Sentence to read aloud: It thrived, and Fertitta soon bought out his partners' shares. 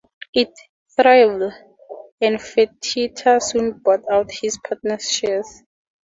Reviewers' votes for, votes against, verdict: 2, 0, accepted